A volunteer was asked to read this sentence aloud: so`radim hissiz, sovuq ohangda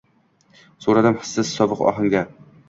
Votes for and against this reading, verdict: 2, 0, accepted